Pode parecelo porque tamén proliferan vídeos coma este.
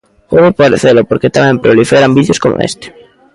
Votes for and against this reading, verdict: 1, 2, rejected